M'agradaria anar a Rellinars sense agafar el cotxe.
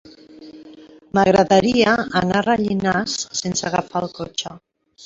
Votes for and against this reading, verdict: 1, 2, rejected